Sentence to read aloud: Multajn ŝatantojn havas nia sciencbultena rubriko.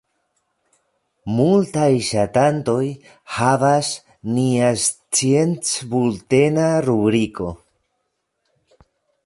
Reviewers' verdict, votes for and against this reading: rejected, 1, 2